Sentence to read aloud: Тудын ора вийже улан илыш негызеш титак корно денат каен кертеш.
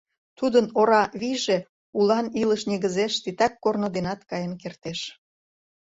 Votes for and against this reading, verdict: 2, 0, accepted